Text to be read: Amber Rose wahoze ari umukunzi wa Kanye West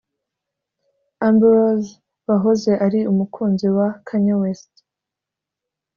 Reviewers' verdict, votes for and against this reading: accepted, 2, 0